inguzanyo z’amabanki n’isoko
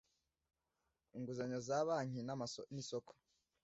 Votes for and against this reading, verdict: 1, 2, rejected